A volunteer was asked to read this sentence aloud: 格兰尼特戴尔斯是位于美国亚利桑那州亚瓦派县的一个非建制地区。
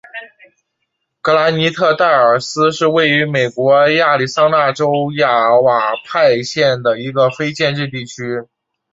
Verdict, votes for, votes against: accepted, 3, 1